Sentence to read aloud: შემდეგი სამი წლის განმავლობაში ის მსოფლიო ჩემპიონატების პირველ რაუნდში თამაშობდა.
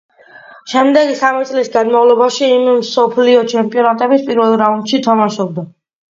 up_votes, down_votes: 2, 1